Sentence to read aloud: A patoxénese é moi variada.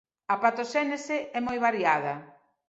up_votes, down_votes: 2, 0